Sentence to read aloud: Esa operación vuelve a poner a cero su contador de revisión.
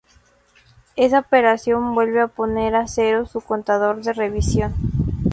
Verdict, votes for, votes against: accepted, 4, 2